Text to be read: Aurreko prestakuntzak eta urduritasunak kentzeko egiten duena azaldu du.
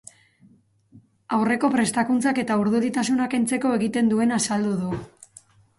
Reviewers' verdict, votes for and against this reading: accepted, 4, 0